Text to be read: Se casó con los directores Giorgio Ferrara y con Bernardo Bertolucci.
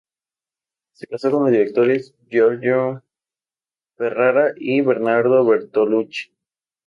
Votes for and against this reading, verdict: 0, 2, rejected